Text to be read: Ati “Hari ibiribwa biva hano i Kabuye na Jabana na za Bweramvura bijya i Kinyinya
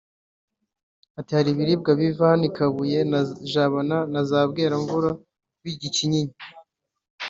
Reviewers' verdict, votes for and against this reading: accepted, 2, 0